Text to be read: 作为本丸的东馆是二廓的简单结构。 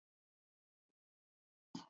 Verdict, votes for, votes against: rejected, 0, 3